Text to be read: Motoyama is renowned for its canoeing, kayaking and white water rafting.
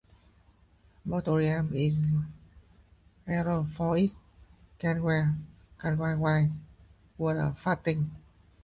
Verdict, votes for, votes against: rejected, 0, 2